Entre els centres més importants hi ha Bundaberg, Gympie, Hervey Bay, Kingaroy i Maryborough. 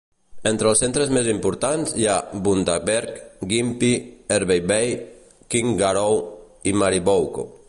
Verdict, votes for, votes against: rejected, 0, 2